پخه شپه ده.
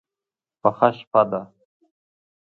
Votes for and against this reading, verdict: 2, 0, accepted